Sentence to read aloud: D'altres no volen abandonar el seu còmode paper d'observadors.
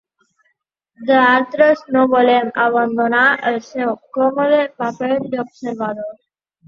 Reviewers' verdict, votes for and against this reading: rejected, 0, 2